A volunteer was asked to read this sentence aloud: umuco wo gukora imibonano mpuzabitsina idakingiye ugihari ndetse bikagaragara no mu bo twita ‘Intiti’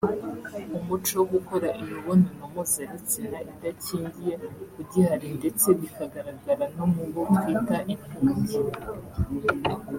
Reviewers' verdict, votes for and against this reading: rejected, 0, 2